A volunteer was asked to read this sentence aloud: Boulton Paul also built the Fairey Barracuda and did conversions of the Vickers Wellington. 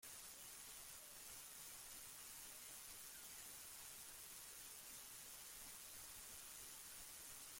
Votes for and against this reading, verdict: 0, 2, rejected